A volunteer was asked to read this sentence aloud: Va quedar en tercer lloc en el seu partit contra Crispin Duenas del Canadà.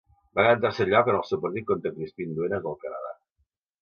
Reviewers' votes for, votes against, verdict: 1, 2, rejected